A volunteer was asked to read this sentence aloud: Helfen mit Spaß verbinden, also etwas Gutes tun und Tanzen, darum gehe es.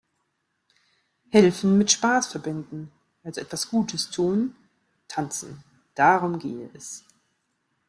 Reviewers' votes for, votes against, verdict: 0, 2, rejected